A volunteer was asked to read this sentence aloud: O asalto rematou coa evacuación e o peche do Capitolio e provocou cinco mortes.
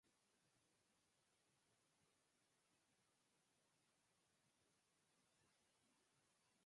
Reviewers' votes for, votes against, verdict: 0, 4, rejected